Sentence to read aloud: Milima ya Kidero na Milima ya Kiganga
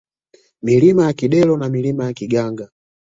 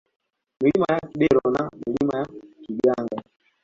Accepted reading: first